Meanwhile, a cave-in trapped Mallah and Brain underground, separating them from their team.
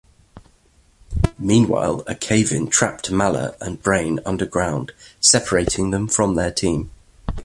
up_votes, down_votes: 2, 1